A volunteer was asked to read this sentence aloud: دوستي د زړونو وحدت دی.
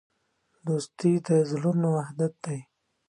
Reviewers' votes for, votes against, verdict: 2, 0, accepted